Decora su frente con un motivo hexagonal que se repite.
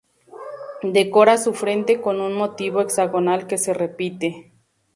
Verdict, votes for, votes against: accepted, 2, 0